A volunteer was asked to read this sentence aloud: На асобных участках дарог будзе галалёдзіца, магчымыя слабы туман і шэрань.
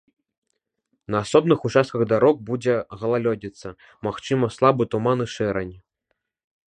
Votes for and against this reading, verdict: 1, 2, rejected